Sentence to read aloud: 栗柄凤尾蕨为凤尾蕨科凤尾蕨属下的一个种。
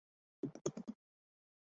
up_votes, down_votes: 0, 2